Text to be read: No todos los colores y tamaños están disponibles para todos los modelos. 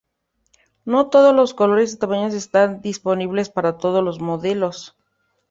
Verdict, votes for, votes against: accepted, 2, 0